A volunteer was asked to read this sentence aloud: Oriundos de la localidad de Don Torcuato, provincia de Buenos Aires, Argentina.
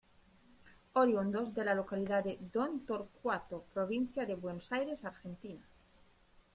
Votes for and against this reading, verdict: 0, 2, rejected